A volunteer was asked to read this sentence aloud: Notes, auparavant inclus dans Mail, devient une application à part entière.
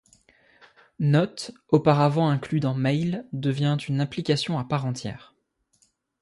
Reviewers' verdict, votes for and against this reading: accepted, 2, 0